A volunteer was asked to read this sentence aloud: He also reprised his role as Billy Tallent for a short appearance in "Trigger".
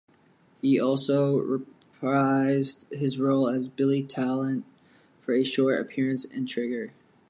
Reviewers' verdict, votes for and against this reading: rejected, 0, 2